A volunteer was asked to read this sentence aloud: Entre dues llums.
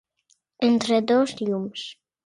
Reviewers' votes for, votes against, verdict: 1, 2, rejected